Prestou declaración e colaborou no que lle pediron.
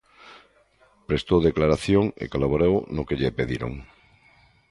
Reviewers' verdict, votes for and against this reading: accepted, 2, 0